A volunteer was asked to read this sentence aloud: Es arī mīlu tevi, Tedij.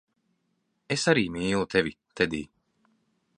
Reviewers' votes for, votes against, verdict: 2, 0, accepted